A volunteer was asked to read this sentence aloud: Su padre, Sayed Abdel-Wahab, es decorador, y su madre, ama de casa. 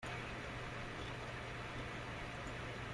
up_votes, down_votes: 0, 2